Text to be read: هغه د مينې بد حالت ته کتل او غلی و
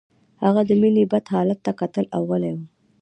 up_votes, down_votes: 2, 0